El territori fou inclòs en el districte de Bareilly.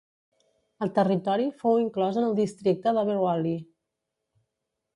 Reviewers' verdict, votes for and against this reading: rejected, 1, 2